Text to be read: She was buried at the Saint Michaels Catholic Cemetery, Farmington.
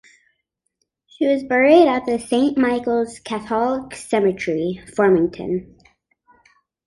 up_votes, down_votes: 2, 1